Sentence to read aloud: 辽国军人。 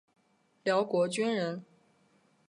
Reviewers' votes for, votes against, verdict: 3, 0, accepted